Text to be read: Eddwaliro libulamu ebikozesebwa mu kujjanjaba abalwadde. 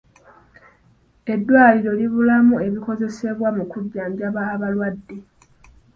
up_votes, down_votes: 2, 1